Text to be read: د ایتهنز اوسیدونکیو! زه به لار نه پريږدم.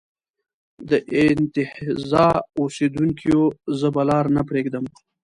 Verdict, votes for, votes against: rejected, 0, 2